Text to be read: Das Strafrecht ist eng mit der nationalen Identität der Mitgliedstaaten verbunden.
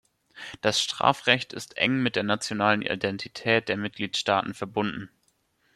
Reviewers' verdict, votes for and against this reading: rejected, 1, 2